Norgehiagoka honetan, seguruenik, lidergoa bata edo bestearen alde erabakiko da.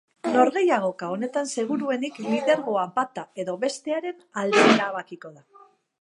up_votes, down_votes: 2, 2